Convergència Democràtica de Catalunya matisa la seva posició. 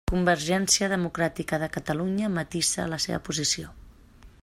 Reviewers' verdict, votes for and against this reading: rejected, 1, 2